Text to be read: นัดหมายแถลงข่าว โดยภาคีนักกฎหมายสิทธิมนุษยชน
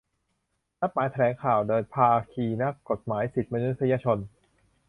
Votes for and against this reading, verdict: 0, 3, rejected